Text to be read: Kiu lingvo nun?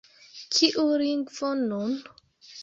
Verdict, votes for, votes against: accepted, 2, 1